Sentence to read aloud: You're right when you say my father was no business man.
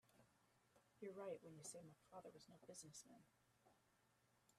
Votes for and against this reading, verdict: 0, 2, rejected